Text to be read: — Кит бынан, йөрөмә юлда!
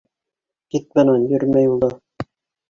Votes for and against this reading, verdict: 2, 0, accepted